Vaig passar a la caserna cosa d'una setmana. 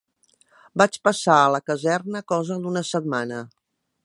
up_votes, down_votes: 2, 0